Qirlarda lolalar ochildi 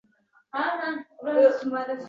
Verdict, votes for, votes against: rejected, 0, 3